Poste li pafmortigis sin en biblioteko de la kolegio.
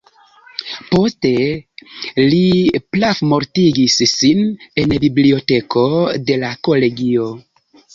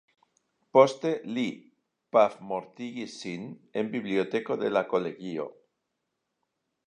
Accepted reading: second